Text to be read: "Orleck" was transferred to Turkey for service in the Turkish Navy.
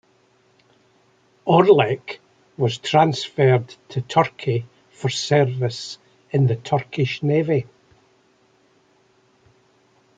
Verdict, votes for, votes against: accepted, 2, 0